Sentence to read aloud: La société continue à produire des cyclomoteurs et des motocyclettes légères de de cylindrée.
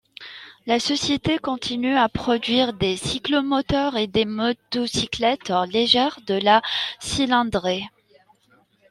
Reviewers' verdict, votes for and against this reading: rejected, 0, 2